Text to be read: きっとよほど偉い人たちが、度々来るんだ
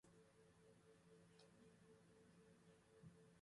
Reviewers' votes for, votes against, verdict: 0, 2, rejected